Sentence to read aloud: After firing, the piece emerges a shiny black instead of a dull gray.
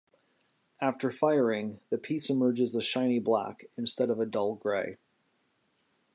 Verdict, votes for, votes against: accepted, 2, 0